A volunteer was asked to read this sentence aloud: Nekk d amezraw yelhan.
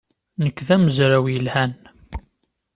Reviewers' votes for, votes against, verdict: 2, 0, accepted